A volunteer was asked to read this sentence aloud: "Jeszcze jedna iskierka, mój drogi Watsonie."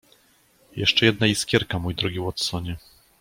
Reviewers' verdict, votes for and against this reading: accepted, 2, 0